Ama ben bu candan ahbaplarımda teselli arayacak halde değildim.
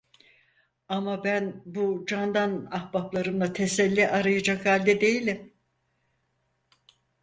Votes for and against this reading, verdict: 0, 4, rejected